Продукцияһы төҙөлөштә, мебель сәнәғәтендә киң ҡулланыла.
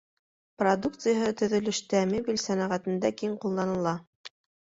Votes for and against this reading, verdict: 2, 0, accepted